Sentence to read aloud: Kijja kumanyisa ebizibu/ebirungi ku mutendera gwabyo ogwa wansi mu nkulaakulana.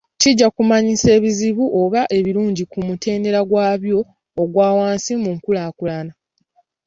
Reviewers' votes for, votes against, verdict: 2, 0, accepted